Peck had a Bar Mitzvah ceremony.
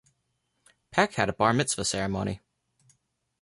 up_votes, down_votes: 0, 2